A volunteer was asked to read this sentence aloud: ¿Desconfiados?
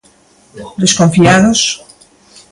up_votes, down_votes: 2, 0